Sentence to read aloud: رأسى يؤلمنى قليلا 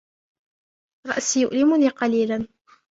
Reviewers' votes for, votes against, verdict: 1, 2, rejected